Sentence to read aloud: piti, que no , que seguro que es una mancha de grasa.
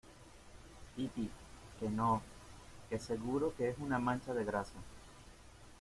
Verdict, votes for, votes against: accepted, 2, 1